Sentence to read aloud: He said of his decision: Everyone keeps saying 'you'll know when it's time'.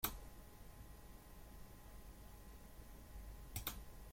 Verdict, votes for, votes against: rejected, 0, 2